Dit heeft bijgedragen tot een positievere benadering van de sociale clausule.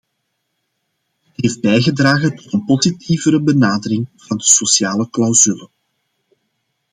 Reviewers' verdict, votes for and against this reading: rejected, 1, 2